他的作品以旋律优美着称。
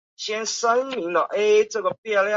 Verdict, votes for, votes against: rejected, 1, 2